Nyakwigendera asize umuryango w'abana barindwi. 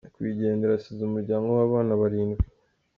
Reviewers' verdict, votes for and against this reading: accepted, 2, 0